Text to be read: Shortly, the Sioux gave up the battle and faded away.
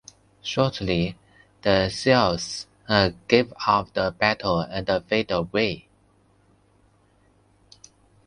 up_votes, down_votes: 0, 2